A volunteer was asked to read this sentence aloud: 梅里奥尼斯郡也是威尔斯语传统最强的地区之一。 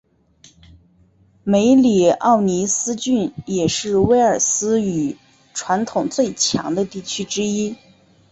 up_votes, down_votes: 2, 0